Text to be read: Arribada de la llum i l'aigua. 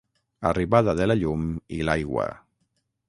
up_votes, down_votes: 6, 0